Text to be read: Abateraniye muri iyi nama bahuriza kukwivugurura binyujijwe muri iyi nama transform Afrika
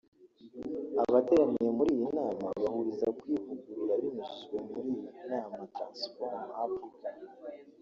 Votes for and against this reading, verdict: 1, 2, rejected